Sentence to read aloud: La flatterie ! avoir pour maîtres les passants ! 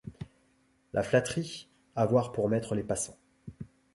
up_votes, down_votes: 2, 0